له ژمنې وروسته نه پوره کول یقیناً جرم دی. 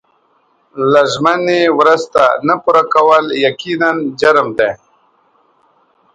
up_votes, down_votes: 2, 0